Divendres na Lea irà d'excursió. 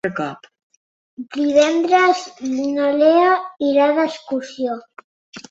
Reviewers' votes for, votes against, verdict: 1, 2, rejected